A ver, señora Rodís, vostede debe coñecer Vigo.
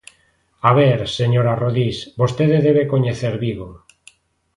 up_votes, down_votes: 2, 0